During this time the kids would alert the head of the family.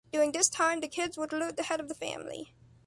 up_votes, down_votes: 2, 0